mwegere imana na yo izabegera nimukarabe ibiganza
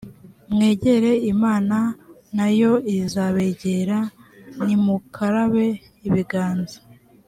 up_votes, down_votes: 2, 0